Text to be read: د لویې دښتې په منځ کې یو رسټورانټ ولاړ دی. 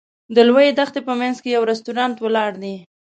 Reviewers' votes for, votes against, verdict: 2, 0, accepted